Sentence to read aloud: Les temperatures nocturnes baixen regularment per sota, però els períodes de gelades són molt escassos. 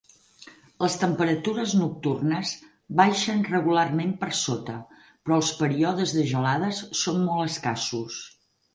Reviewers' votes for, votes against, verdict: 6, 2, accepted